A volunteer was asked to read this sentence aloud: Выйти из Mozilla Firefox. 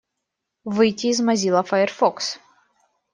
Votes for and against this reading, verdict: 2, 0, accepted